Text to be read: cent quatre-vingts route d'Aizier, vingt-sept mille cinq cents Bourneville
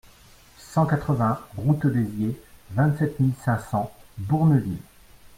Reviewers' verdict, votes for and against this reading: accepted, 2, 0